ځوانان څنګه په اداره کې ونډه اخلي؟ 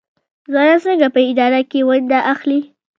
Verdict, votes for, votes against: accepted, 2, 0